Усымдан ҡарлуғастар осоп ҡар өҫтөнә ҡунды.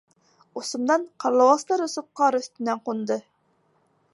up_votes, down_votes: 1, 2